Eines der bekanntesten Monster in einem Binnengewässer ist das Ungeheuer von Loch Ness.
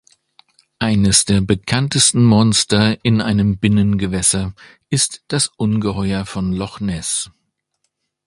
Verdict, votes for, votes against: accepted, 3, 0